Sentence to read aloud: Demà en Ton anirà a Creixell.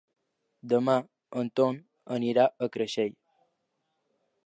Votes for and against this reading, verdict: 2, 0, accepted